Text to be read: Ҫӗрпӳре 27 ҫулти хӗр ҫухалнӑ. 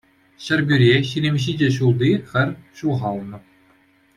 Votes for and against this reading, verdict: 0, 2, rejected